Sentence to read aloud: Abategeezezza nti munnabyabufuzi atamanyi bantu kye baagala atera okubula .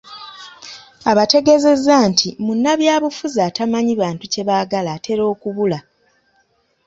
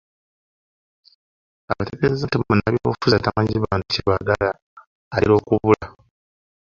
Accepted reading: first